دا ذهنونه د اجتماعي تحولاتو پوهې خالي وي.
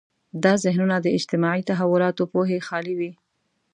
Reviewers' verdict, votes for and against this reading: accepted, 2, 0